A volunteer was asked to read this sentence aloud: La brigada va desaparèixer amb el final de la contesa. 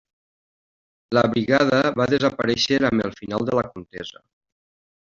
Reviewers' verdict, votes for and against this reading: rejected, 0, 2